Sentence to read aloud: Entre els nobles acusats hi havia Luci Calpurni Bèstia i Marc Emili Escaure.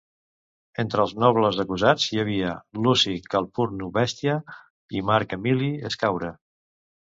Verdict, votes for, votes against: rejected, 1, 2